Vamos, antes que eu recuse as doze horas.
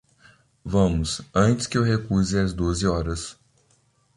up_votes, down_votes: 2, 0